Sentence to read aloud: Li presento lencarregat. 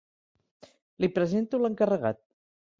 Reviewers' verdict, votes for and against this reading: accepted, 3, 1